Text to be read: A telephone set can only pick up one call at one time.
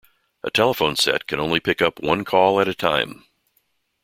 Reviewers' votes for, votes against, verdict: 2, 0, accepted